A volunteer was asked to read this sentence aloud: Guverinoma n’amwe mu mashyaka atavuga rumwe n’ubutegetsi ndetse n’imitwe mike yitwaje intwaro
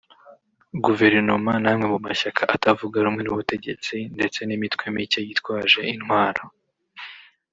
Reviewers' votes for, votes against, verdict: 1, 2, rejected